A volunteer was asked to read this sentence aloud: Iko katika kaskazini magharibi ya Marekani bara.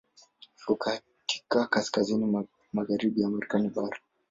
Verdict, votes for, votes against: accepted, 2, 1